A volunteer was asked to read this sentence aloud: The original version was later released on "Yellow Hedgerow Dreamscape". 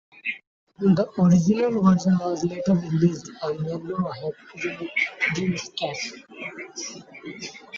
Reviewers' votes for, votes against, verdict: 0, 2, rejected